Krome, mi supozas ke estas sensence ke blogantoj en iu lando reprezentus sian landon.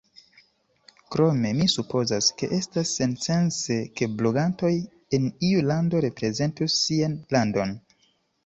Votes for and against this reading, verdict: 2, 0, accepted